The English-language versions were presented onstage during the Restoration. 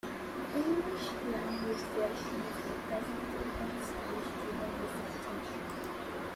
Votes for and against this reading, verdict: 0, 2, rejected